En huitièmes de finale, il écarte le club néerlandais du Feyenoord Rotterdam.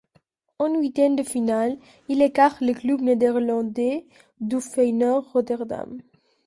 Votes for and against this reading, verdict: 1, 2, rejected